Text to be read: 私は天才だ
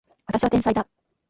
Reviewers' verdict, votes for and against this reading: rejected, 1, 2